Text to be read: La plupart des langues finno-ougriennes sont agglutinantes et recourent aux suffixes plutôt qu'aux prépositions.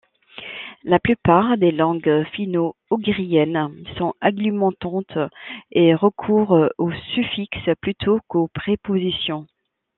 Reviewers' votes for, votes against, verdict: 1, 2, rejected